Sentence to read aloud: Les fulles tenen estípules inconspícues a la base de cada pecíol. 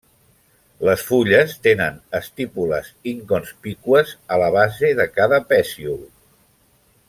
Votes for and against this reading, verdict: 0, 2, rejected